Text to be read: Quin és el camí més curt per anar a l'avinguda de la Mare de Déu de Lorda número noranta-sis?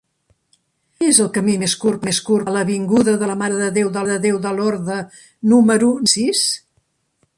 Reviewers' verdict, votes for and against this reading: rejected, 0, 3